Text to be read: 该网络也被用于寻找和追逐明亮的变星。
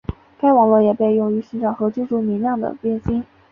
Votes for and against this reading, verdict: 5, 0, accepted